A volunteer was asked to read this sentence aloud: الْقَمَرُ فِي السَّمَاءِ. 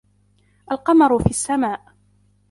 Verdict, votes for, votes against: rejected, 1, 2